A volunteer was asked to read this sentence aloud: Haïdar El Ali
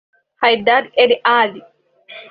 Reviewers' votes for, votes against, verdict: 0, 2, rejected